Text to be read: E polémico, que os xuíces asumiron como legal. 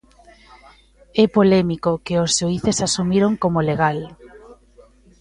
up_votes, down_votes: 2, 1